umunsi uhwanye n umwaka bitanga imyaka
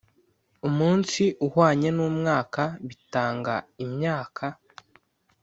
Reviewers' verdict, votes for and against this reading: accepted, 2, 0